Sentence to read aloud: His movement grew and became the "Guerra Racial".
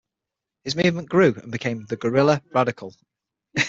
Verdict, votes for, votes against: rejected, 0, 6